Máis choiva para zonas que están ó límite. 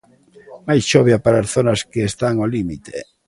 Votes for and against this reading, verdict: 0, 2, rejected